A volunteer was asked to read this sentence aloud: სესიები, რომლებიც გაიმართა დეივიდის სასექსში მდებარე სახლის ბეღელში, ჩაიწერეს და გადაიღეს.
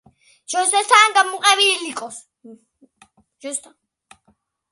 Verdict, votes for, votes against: rejected, 0, 2